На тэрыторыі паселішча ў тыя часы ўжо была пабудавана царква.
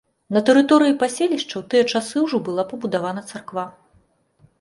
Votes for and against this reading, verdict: 2, 0, accepted